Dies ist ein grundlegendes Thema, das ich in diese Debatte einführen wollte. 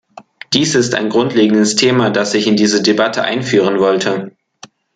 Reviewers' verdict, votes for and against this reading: accepted, 2, 0